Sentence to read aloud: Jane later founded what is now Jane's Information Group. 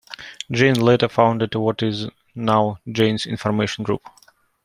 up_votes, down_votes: 2, 0